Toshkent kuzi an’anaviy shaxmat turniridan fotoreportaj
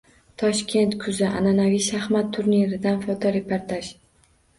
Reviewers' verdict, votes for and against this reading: accepted, 2, 0